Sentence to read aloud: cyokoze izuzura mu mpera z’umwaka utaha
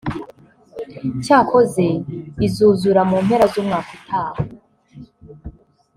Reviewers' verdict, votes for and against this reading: accepted, 2, 0